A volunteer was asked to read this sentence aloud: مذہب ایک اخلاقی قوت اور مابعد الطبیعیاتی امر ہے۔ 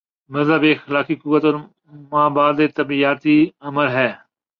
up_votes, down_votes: 1, 2